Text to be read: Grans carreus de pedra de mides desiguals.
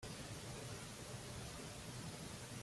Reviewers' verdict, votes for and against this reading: rejected, 0, 2